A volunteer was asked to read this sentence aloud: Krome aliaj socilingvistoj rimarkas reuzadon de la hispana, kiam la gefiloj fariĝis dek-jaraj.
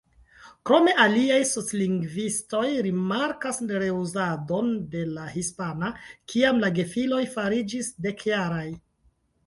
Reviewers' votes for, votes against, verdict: 0, 3, rejected